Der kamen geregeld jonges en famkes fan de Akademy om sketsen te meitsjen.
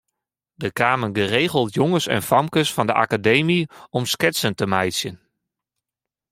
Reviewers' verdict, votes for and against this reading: accepted, 2, 0